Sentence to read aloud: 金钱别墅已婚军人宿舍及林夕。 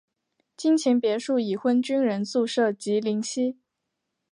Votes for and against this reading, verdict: 2, 0, accepted